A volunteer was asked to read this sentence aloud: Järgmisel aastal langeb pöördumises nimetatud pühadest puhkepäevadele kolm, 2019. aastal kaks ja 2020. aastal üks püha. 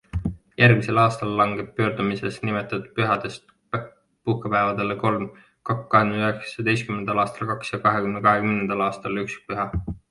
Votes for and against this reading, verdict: 0, 2, rejected